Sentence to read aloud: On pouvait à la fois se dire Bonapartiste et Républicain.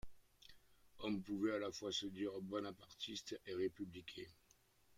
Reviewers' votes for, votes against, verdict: 0, 2, rejected